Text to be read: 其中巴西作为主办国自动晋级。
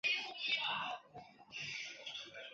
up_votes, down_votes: 0, 3